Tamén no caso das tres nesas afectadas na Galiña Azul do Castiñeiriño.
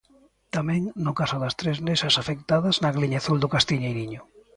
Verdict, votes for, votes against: rejected, 0, 2